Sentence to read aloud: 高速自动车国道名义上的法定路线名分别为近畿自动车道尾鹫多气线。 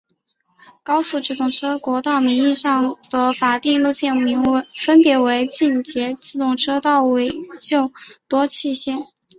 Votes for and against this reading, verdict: 0, 2, rejected